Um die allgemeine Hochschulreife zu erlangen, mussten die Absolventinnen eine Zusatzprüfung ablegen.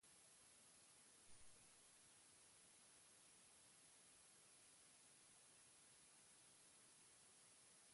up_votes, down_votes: 0, 4